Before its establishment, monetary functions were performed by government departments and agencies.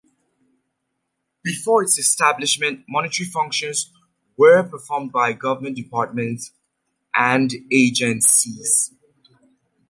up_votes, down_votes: 3, 0